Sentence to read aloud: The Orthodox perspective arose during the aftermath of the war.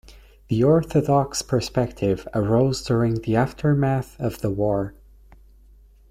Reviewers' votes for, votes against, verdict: 2, 0, accepted